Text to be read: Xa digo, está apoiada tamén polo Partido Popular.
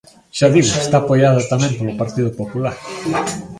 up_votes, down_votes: 1, 2